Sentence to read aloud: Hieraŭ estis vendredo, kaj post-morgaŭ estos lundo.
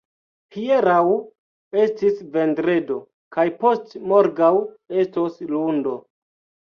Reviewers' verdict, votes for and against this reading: accepted, 2, 1